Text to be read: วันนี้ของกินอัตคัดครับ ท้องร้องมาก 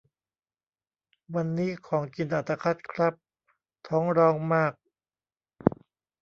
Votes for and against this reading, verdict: 2, 0, accepted